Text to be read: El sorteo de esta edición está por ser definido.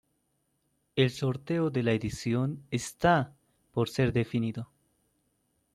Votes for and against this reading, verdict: 1, 2, rejected